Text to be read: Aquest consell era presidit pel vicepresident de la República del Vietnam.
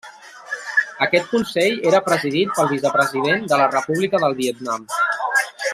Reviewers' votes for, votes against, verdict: 1, 2, rejected